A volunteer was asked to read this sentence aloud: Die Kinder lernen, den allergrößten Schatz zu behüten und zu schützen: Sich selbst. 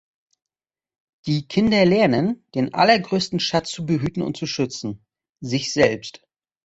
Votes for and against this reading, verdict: 2, 0, accepted